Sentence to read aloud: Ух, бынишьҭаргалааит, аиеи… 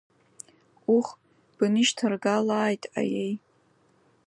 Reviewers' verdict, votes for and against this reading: accepted, 2, 0